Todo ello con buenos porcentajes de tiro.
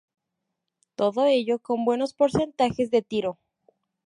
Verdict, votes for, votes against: accepted, 4, 0